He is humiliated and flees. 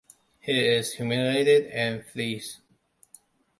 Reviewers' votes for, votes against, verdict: 2, 1, accepted